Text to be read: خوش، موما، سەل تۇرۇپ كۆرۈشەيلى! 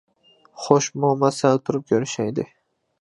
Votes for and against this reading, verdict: 2, 0, accepted